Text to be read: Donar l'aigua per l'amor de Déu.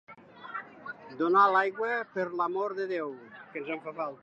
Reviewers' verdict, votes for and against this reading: rejected, 0, 2